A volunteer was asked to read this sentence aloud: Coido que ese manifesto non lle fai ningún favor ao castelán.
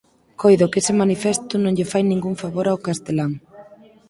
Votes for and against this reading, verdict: 4, 0, accepted